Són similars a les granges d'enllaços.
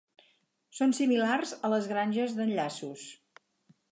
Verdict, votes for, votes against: accepted, 8, 0